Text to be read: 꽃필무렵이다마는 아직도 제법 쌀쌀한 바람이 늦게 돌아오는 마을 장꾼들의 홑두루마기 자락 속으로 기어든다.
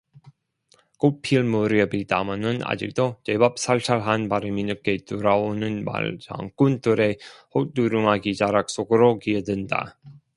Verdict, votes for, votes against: rejected, 0, 2